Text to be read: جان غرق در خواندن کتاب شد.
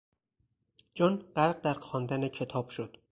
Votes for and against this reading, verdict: 2, 0, accepted